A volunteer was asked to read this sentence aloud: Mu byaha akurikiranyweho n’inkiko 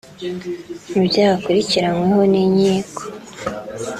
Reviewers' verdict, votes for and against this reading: accepted, 2, 0